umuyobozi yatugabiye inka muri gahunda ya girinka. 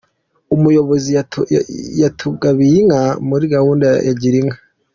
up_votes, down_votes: 0, 2